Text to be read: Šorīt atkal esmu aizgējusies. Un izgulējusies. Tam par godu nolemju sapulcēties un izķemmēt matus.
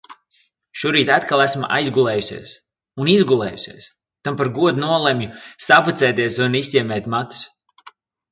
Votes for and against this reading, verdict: 0, 2, rejected